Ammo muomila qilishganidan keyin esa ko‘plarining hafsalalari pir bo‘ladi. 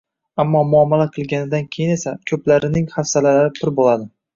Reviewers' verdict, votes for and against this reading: rejected, 0, 2